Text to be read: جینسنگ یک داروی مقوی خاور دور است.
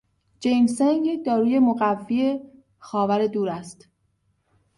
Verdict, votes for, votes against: accepted, 2, 0